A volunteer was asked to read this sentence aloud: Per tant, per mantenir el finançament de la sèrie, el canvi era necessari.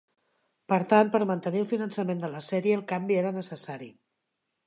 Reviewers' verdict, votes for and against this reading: accepted, 4, 0